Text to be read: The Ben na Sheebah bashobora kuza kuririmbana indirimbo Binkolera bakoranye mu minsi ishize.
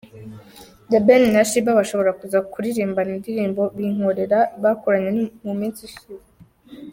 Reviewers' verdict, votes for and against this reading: rejected, 1, 2